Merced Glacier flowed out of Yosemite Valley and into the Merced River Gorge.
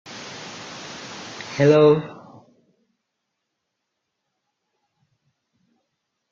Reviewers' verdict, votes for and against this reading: rejected, 0, 2